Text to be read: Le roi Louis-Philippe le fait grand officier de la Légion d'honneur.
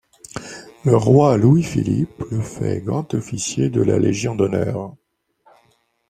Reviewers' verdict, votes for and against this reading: accepted, 2, 0